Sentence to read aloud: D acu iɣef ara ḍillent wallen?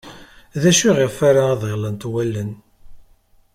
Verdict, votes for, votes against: accepted, 2, 0